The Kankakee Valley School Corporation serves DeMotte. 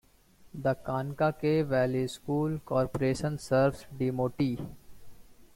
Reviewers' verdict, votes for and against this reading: accepted, 2, 0